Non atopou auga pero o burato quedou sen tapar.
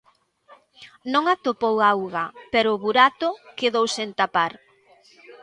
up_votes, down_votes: 2, 1